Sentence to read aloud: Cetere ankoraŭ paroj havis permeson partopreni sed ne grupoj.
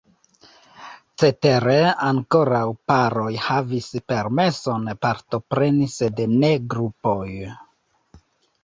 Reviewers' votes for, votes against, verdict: 1, 3, rejected